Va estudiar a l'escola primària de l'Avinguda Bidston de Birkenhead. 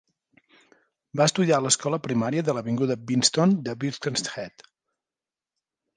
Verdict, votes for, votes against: accepted, 2, 0